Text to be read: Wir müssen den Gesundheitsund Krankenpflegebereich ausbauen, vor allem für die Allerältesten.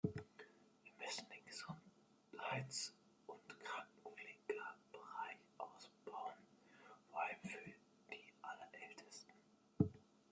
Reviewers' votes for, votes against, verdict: 1, 2, rejected